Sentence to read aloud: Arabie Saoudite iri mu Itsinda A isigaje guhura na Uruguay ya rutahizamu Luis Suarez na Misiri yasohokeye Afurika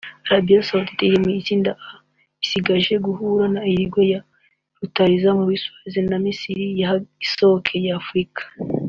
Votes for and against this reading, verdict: 0, 2, rejected